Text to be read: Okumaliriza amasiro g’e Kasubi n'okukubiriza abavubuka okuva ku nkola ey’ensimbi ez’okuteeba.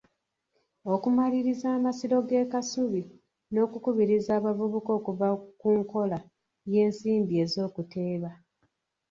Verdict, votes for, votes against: rejected, 1, 2